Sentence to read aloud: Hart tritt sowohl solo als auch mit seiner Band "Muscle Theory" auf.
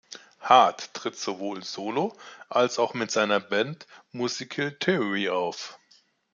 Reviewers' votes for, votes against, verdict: 0, 2, rejected